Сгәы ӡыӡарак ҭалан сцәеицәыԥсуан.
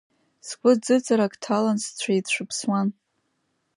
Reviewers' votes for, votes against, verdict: 2, 0, accepted